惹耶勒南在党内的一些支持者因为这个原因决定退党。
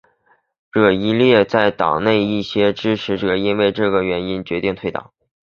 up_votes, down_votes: 4, 0